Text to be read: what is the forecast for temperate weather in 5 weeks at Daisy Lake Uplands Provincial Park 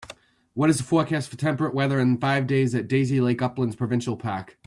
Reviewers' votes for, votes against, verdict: 0, 2, rejected